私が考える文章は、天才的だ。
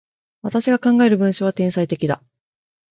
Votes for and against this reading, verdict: 2, 1, accepted